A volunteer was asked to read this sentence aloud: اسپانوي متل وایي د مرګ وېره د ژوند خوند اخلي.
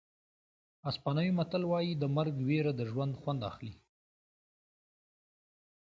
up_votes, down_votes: 2, 0